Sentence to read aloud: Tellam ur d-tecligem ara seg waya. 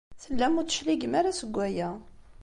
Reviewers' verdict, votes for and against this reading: accepted, 2, 0